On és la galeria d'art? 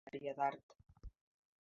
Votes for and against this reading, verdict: 0, 2, rejected